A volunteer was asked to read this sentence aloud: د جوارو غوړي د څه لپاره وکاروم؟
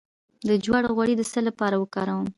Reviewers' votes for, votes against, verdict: 2, 0, accepted